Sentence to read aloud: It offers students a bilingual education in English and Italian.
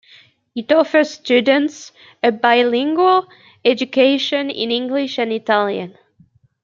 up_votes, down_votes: 2, 0